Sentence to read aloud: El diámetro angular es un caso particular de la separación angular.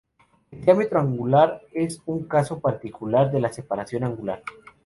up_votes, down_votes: 2, 2